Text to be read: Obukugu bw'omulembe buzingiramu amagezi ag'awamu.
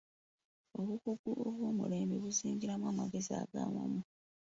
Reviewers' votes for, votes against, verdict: 0, 2, rejected